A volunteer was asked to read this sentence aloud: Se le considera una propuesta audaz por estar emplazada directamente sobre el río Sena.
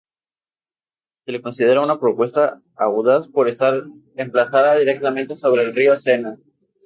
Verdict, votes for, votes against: accepted, 2, 0